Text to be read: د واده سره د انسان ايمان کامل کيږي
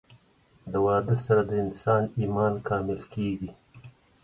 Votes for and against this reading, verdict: 2, 0, accepted